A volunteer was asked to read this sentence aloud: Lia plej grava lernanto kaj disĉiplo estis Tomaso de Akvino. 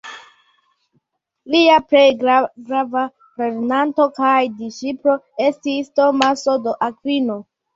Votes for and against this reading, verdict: 2, 1, accepted